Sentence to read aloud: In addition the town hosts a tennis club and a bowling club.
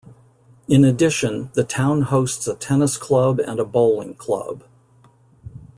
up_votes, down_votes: 2, 0